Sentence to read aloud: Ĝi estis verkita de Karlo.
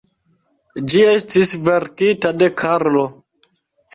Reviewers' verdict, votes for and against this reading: rejected, 1, 2